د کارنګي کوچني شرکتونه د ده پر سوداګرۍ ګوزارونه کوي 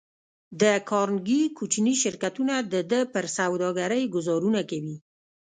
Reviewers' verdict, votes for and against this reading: rejected, 1, 2